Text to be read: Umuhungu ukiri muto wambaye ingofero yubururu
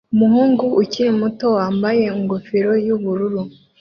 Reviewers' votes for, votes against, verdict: 2, 0, accepted